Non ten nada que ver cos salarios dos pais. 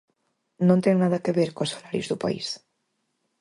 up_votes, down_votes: 0, 4